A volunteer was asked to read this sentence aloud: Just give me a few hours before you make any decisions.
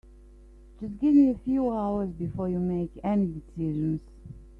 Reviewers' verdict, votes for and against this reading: rejected, 0, 2